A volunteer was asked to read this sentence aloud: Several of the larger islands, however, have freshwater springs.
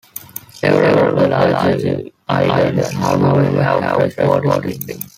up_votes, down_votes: 0, 3